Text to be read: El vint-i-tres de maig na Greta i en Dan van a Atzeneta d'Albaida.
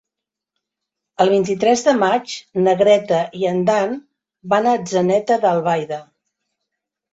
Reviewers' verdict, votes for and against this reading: accepted, 3, 0